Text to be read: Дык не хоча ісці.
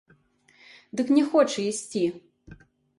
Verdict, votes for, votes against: accepted, 2, 0